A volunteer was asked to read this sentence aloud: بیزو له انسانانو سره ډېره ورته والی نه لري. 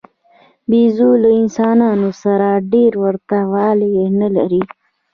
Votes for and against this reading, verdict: 1, 2, rejected